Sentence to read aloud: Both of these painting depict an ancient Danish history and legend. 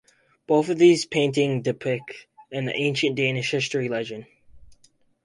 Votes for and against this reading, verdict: 0, 2, rejected